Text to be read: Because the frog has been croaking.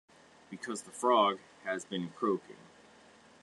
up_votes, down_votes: 2, 1